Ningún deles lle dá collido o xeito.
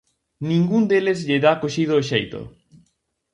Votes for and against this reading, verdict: 0, 4, rejected